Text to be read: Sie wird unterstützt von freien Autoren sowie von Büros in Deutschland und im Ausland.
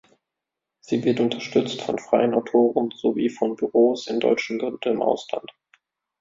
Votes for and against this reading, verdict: 0, 2, rejected